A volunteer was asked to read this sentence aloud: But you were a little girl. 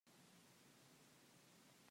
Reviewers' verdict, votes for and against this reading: rejected, 0, 2